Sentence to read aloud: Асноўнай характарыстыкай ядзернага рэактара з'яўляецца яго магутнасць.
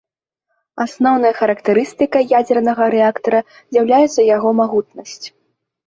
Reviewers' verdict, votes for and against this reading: accepted, 2, 0